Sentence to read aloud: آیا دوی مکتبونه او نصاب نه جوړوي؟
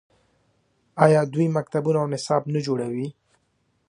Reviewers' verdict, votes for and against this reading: accepted, 2, 1